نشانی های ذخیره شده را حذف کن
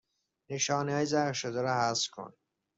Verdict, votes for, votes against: rejected, 0, 2